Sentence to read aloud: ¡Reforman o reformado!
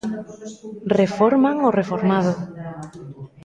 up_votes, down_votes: 1, 2